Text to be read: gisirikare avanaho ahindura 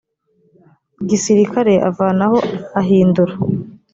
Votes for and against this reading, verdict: 2, 0, accepted